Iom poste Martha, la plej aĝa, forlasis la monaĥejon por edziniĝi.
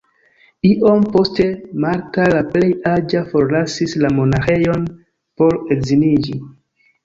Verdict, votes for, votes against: rejected, 1, 2